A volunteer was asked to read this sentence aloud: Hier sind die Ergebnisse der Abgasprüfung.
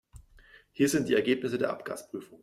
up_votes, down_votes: 2, 0